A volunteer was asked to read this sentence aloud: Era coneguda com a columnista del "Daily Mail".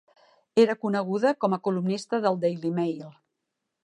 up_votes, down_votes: 4, 0